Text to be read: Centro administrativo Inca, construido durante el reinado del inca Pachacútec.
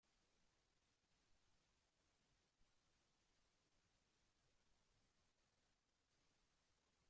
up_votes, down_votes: 0, 2